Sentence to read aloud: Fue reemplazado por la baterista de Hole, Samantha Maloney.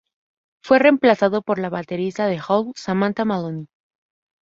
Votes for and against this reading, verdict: 2, 0, accepted